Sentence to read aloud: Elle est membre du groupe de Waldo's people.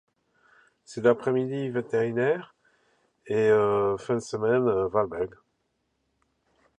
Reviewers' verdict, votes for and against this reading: rejected, 1, 2